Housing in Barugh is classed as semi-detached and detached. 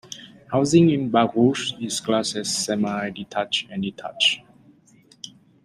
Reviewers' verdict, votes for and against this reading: accepted, 2, 1